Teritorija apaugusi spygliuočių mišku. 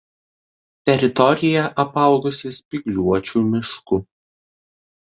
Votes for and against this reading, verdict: 2, 0, accepted